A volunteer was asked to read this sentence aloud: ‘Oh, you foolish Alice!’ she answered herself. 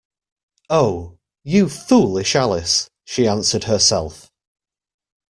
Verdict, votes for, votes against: accepted, 2, 0